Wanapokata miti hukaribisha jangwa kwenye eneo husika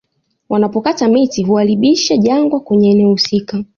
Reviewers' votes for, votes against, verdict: 0, 2, rejected